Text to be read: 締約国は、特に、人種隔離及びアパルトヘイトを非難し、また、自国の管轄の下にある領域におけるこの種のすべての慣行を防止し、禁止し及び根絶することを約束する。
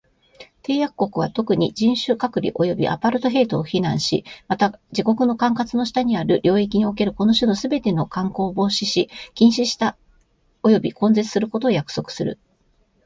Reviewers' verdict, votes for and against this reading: accepted, 2, 0